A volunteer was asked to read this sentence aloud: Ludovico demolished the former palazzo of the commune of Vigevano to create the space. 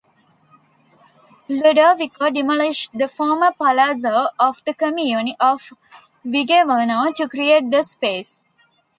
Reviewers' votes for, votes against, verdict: 2, 0, accepted